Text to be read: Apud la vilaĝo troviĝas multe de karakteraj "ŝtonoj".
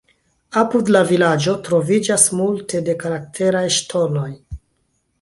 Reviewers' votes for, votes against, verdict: 1, 2, rejected